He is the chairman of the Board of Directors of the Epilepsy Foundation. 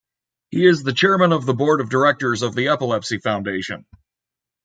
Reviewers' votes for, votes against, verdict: 1, 2, rejected